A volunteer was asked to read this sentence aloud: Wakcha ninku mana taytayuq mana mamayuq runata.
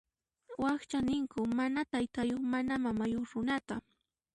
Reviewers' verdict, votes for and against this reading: accepted, 2, 0